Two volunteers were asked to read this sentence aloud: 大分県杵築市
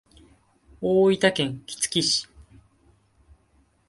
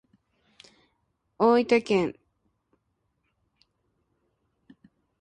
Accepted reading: first